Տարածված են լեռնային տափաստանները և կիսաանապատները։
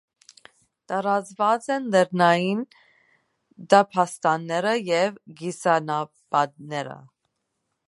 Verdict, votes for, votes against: rejected, 0, 2